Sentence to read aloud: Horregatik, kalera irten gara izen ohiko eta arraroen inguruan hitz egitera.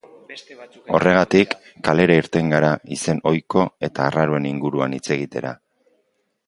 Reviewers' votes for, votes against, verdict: 1, 2, rejected